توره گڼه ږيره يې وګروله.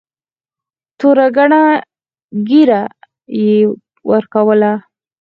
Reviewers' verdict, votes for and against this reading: rejected, 2, 4